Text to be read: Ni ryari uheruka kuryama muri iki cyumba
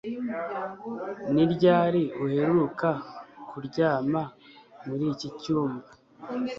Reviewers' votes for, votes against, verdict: 2, 0, accepted